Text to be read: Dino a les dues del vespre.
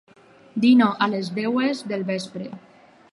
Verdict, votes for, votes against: rejected, 2, 4